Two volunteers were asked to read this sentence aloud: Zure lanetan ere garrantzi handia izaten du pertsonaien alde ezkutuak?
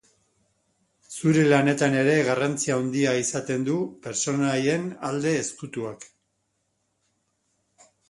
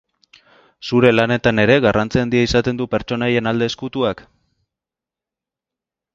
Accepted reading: second